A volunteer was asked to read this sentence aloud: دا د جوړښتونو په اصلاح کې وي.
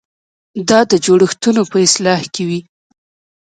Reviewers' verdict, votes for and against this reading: accepted, 2, 0